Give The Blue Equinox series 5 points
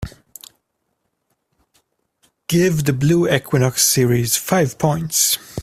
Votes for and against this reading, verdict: 0, 2, rejected